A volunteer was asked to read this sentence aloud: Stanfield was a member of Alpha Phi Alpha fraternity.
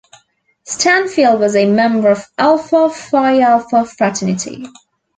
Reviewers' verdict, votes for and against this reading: accepted, 2, 0